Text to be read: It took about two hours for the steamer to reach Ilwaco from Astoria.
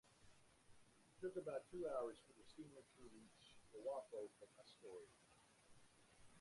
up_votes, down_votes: 1, 2